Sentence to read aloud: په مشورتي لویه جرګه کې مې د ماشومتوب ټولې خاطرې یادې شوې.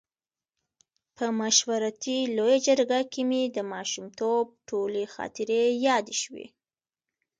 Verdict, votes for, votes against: rejected, 1, 2